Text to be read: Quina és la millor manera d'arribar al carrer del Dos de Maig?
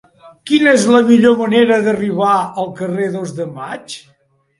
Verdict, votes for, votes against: rejected, 0, 2